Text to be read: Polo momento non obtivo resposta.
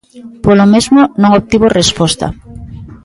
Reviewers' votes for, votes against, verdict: 0, 2, rejected